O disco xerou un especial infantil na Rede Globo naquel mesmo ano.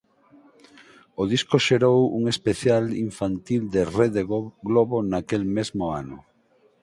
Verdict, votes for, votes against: rejected, 0, 4